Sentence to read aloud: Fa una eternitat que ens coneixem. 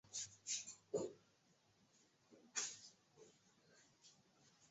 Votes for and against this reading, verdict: 0, 2, rejected